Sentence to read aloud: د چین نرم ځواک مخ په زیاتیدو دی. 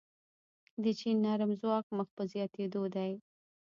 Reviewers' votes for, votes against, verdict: 1, 2, rejected